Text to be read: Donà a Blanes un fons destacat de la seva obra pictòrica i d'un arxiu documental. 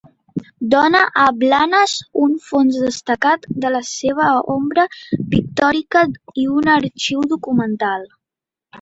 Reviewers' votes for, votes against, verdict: 0, 2, rejected